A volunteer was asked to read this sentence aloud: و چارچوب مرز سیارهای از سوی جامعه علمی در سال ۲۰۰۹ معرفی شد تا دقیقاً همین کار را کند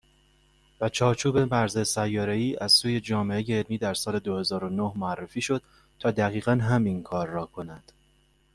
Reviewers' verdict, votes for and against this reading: rejected, 0, 2